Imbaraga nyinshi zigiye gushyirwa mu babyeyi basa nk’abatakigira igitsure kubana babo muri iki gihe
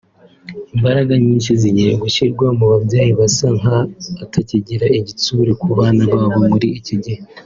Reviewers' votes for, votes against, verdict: 4, 0, accepted